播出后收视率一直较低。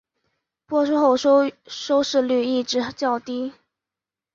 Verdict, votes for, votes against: rejected, 2, 3